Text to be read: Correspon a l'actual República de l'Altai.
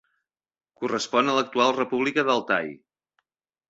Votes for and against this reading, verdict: 1, 2, rejected